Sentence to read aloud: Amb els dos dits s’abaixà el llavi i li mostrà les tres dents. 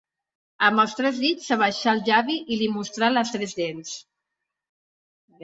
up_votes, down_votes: 0, 2